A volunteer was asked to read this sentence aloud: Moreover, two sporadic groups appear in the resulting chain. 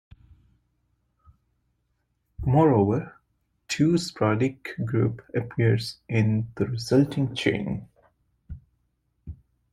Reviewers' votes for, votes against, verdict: 0, 2, rejected